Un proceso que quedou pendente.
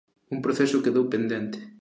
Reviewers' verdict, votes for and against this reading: rejected, 0, 2